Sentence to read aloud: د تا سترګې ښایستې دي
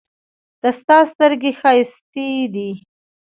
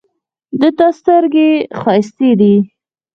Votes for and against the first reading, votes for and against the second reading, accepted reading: 1, 2, 4, 0, second